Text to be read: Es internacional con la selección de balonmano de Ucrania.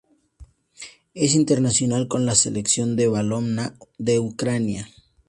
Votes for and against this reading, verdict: 0, 2, rejected